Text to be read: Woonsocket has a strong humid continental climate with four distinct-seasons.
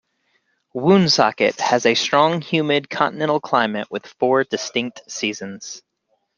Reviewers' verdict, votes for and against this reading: accepted, 3, 0